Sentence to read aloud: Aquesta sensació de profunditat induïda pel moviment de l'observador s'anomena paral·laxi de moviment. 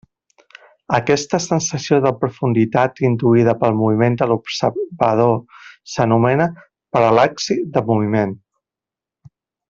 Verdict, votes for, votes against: rejected, 0, 2